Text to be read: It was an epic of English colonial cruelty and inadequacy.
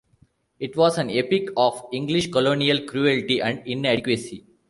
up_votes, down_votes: 1, 2